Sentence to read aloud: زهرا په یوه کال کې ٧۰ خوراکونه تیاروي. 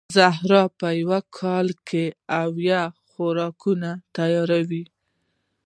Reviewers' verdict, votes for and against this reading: rejected, 0, 2